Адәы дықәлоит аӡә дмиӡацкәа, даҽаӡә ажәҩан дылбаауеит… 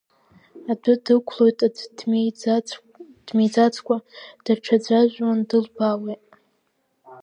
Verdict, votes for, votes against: accepted, 2, 1